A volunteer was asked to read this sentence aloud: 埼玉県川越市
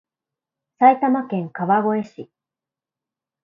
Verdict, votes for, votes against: accepted, 4, 0